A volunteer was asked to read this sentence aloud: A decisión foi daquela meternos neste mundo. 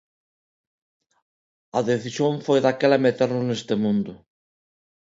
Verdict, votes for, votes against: accepted, 2, 0